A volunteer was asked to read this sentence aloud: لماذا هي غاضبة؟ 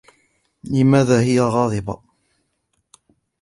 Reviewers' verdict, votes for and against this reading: accepted, 2, 0